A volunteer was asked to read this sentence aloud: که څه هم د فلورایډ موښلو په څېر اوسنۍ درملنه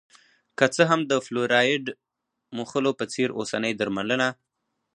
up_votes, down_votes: 2, 2